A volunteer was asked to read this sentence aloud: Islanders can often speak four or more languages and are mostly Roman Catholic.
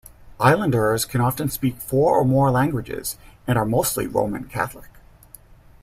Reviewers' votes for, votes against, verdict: 2, 0, accepted